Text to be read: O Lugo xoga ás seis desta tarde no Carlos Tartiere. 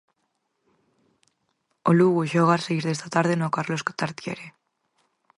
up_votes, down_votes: 4, 2